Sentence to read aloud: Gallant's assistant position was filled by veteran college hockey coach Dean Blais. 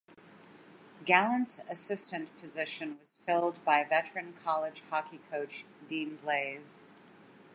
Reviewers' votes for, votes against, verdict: 2, 1, accepted